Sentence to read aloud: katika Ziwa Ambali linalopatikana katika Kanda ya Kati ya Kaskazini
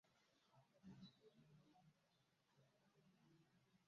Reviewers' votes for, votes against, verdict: 0, 2, rejected